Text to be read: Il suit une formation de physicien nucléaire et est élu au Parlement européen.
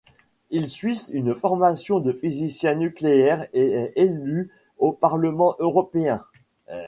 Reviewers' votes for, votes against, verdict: 0, 2, rejected